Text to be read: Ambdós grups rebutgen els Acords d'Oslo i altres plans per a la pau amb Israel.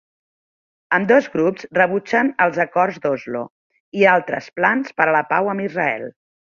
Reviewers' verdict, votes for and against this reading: accepted, 3, 0